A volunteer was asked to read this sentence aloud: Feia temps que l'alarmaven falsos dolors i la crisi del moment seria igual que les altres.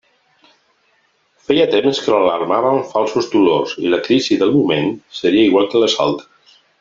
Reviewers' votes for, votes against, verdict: 1, 2, rejected